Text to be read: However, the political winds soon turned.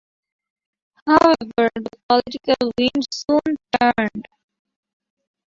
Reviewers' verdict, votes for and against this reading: rejected, 0, 2